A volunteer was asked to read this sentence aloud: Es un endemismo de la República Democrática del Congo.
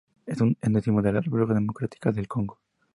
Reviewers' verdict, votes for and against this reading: accepted, 2, 0